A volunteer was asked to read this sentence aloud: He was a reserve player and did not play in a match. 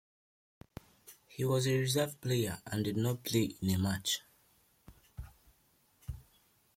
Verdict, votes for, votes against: accepted, 2, 0